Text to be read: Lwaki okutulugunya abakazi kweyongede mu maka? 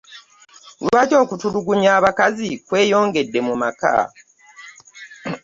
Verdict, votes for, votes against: accepted, 2, 0